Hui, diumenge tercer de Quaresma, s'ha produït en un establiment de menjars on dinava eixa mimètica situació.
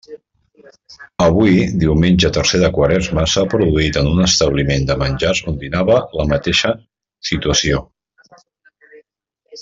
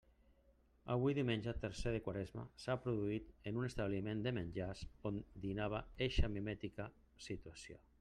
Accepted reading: second